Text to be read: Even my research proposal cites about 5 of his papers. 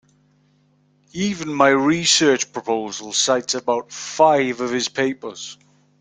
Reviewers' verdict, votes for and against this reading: rejected, 0, 2